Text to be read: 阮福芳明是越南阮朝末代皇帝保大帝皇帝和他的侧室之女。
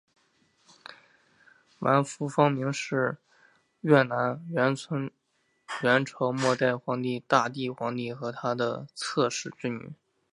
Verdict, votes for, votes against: accepted, 2, 1